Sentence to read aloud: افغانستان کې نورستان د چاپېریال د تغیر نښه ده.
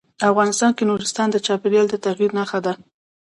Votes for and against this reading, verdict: 1, 2, rejected